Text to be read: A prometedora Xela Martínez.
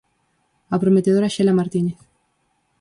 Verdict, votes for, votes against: accepted, 4, 0